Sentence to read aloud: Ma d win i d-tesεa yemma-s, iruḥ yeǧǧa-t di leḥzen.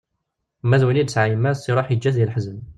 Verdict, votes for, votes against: rejected, 0, 2